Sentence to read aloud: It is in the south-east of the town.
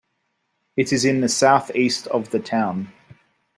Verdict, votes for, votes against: accepted, 2, 0